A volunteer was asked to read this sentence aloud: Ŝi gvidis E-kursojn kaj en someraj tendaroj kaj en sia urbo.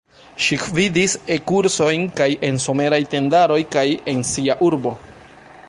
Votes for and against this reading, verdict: 0, 2, rejected